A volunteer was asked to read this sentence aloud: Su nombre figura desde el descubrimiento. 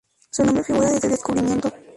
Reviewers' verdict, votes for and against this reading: rejected, 2, 2